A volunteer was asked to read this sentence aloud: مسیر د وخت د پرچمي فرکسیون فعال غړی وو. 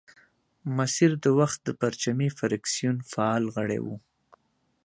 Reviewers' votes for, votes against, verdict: 2, 0, accepted